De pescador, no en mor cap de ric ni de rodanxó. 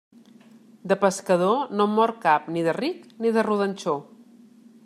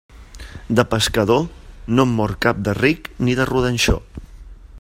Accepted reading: second